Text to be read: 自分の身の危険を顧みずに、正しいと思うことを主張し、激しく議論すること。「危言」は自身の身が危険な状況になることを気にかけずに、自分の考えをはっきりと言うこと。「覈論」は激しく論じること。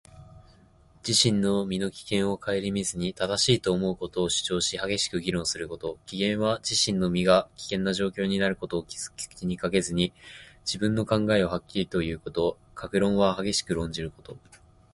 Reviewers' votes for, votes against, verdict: 2, 0, accepted